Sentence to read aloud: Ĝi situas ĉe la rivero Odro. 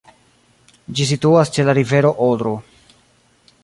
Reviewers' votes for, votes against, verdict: 1, 2, rejected